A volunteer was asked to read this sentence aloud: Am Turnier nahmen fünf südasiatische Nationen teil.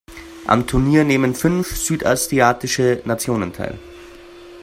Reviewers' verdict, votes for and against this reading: rejected, 1, 2